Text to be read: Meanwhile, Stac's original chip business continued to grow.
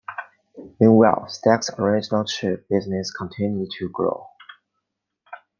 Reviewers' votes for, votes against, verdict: 2, 0, accepted